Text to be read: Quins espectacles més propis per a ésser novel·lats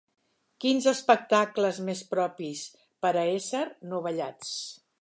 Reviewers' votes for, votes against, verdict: 0, 3, rejected